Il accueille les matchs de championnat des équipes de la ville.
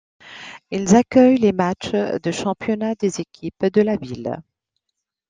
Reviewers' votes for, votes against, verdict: 1, 2, rejected